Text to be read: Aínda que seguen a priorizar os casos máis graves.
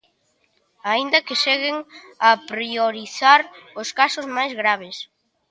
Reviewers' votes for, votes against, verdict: 2, 1, accepted